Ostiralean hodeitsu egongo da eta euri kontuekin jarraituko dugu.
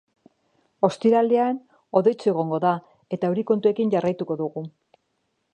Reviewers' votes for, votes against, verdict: 3, 0, accepted